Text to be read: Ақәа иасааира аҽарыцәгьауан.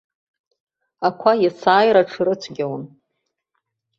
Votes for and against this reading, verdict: 0, 2, rejected